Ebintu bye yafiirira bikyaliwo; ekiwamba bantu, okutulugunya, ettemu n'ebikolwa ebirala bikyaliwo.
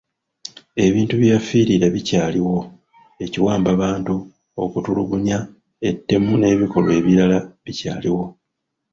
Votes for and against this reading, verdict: 0, 2, rejected